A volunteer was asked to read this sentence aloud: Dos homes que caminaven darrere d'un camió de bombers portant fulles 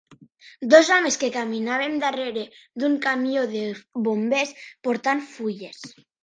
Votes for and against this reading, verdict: 3, 0, accepted